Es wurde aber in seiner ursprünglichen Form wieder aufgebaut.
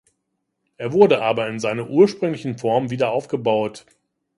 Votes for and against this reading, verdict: 1, 2, rejected